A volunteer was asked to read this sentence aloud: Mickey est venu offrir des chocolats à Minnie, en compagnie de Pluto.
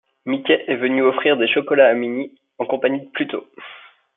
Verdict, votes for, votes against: accepted, 2, 0